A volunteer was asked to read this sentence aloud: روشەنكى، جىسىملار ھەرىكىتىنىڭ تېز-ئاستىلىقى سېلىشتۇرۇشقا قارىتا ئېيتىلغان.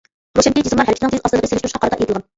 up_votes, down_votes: 0, 2